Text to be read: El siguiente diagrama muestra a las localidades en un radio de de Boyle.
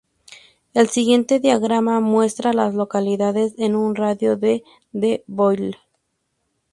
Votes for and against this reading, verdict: 2, 0, accepted